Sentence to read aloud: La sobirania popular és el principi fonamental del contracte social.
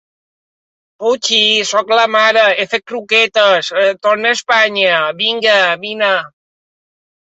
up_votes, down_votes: 0, 2